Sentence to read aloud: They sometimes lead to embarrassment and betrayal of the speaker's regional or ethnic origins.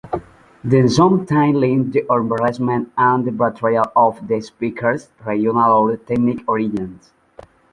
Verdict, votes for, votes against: rejected, 1, 2